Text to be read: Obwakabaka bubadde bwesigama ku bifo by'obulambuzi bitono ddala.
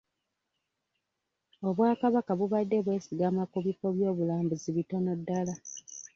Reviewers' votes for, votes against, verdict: 2, 0, accepted